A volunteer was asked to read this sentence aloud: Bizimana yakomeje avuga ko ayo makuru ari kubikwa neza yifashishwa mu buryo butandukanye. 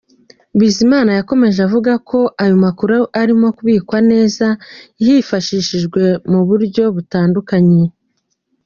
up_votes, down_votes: 2, 0